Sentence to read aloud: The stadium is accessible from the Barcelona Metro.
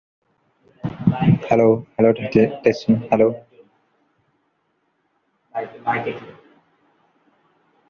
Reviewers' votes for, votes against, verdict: 0, 2, rejected